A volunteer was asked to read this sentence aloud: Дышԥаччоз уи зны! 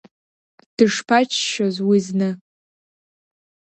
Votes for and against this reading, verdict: 2, 0, accepted